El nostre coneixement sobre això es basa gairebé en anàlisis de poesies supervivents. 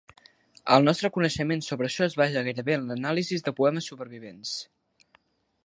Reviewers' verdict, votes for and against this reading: rejected, 1, 2